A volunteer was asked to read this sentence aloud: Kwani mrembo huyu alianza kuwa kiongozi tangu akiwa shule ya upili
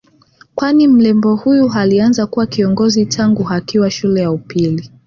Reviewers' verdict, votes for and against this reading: accepted, 7, 0